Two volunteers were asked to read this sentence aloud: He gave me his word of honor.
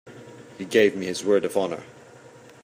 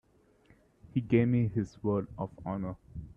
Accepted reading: first